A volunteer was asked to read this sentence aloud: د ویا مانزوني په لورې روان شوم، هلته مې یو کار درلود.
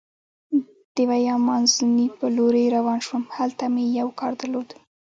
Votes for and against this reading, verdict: 2, 1, accepted